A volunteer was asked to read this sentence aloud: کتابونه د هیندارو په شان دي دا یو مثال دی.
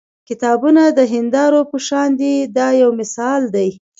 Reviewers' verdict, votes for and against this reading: accepted, 2, 0